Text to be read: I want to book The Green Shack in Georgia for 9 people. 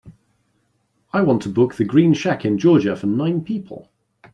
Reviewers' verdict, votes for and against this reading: rejected, 0, 2